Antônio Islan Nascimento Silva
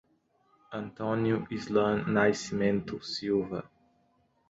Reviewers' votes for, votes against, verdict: 2, 0, accepted